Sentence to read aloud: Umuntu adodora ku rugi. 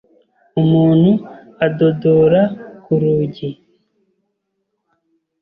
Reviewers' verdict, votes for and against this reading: accepted, 2, 0